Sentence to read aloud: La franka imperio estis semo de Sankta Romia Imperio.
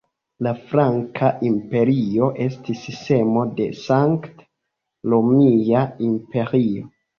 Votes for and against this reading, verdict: 1, 2, rejected